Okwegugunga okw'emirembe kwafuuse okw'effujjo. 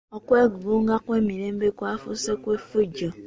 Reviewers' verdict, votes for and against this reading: accepted, 2, 1